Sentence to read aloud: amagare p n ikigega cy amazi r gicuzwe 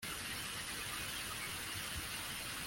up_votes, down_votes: 0, 2